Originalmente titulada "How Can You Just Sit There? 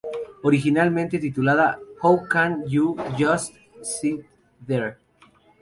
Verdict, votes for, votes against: rejected, 0, 2